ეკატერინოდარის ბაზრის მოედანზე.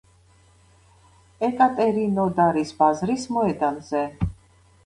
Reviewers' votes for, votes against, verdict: 2, 0, accepted